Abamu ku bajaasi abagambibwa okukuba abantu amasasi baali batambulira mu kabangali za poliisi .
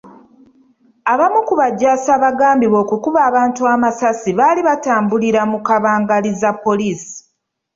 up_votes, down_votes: 2, 0